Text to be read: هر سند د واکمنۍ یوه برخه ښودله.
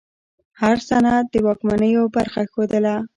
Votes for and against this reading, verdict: 1, 2, rejected